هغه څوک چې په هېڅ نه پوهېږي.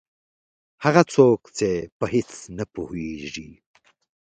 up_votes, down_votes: 2, 0